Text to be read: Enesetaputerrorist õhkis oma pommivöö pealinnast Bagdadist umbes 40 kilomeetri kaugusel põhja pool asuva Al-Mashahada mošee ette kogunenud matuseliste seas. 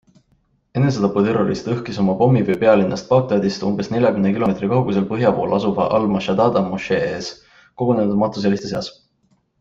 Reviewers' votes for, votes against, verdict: 0, 2, rejected